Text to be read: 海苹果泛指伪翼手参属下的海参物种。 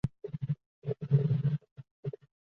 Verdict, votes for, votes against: rejected, 0, 2